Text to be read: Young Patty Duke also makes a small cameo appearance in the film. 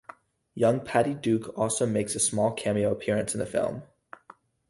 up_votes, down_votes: 2, 2